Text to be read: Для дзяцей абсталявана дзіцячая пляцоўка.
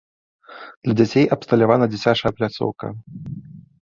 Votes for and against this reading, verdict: 2, 0, accepted